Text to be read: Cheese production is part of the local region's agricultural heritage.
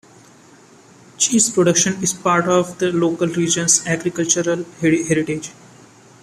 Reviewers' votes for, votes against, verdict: 2, 1, accepted